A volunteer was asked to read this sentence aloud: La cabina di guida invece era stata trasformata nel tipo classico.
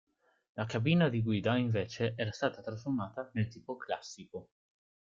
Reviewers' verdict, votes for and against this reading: accepted, 3, 0